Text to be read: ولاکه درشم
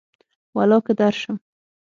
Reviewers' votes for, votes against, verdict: 6, 0, accepted